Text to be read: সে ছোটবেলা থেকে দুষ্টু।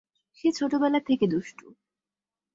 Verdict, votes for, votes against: accepted, 5, 0